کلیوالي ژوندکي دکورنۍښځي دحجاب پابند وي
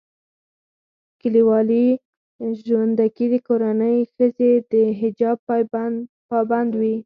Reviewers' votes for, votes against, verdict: 2, 4, rejected